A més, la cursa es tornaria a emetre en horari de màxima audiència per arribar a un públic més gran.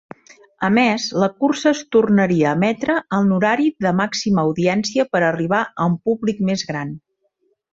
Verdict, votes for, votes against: accepted, 2, 0